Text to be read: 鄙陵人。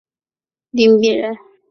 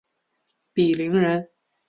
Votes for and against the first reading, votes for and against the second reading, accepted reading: 1, 2, 3, 0, second